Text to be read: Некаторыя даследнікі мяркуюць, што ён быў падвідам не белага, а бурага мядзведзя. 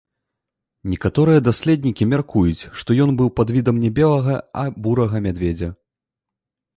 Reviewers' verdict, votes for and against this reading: rejected, 2, 3